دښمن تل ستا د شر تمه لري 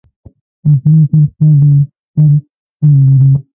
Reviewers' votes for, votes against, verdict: 0, 2, rejected